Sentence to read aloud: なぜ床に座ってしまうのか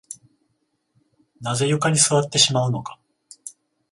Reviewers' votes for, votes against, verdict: 7, 14, rejected